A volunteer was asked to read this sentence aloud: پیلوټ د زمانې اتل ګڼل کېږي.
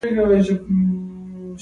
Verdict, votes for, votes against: rejected, 0, 2